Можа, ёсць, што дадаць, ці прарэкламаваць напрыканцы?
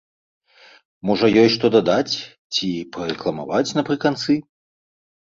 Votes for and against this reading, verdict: 1, 2, rejected